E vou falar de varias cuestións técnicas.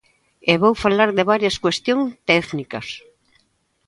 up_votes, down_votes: 0, 2